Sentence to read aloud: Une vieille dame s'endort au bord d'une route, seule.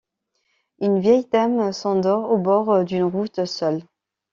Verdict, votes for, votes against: rejected, 1, 2